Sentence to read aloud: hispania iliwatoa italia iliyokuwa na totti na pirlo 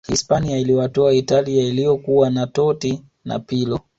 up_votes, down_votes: 2, 0